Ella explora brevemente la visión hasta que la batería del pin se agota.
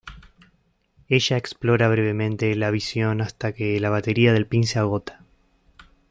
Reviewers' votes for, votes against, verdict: 2, 0, accepted